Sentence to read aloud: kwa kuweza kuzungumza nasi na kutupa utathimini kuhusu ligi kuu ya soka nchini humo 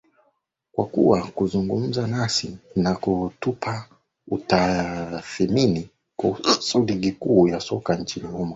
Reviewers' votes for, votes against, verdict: 1, 2, rejected